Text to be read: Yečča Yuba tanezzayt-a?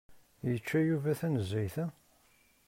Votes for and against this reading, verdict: 2, 0, accepted